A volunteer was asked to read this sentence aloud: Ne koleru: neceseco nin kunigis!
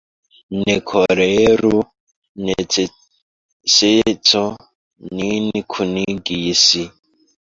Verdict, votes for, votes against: rejected, 1, 2